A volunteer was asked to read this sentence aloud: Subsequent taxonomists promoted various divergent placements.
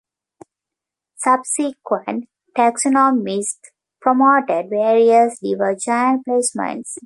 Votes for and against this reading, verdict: 1, 2, rejected